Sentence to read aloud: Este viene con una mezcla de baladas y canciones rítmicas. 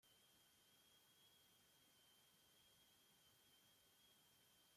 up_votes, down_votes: 0, 2